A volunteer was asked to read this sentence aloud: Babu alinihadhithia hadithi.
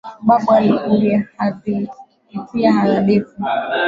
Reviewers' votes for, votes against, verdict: 1, 2, rejected